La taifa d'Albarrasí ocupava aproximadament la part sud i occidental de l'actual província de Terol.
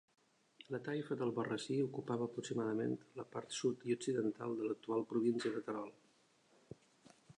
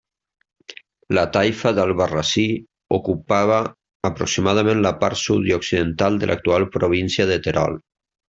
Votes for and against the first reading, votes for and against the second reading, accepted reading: 1, 2, 2, 0, second